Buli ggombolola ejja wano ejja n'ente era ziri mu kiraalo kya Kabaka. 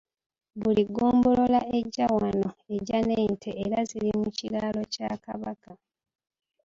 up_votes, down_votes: 2, 1